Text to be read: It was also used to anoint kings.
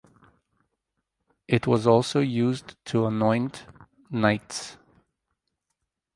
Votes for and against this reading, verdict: 0, 4, rejected